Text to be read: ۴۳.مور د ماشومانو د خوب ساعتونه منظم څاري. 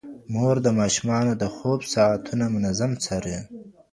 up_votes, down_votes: 0, 2